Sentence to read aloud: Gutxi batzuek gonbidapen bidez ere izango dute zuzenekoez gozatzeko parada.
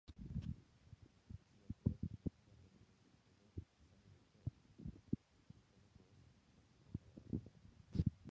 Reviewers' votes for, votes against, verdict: 0, 6, rejected